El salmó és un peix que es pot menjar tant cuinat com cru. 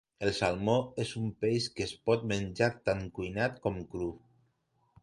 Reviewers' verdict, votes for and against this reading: accepted, 2, 0